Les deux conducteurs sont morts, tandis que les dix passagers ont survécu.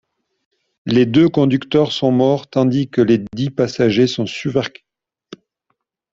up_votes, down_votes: 0, 2